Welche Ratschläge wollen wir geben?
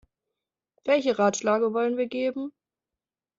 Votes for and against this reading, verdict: 0, 2, rejected